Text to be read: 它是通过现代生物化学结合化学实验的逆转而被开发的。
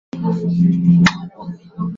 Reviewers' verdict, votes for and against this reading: rejected, 0, 4